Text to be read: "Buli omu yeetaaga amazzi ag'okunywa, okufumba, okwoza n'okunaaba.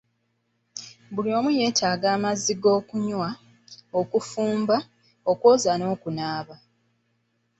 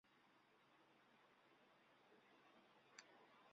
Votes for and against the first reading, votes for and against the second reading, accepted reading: 1, 2, 2, 0, second